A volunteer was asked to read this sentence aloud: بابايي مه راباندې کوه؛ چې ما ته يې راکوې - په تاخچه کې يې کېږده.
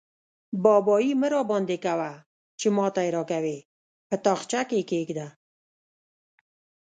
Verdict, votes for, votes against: rejected, 1, 2